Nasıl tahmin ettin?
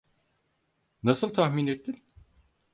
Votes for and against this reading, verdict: 4, 0, accepted